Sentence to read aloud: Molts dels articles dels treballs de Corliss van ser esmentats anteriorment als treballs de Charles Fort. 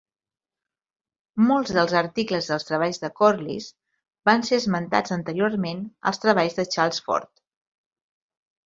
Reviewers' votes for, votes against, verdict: 4, 2, accepted